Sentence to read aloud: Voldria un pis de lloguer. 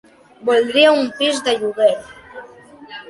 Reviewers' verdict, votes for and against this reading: accepted, 2, 0